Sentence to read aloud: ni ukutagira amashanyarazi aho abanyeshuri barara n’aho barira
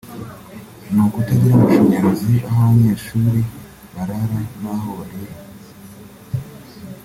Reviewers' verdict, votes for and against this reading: accepted, 3, 0